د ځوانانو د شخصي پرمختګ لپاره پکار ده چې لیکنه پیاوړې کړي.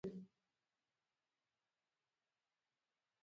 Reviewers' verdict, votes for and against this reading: rejected, 0, 2